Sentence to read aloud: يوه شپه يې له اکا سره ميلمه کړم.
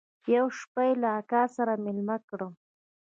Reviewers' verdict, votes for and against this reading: accepted, 2, 0